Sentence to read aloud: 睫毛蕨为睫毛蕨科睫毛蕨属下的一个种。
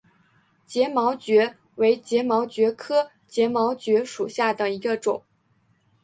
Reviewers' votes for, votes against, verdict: 2, 1, accepted